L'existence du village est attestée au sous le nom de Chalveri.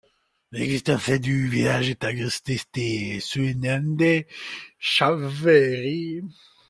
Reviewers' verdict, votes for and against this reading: rejected, 0, 2